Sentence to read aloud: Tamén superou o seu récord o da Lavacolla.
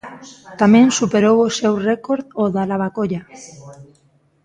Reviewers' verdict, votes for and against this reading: rejected, 1, 2